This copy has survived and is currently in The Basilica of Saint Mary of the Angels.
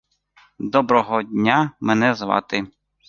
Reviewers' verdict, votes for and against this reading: rejected, 1, 3